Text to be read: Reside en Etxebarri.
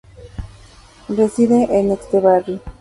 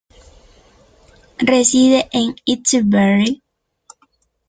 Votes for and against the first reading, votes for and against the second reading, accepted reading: 2, 0, 1, 2, first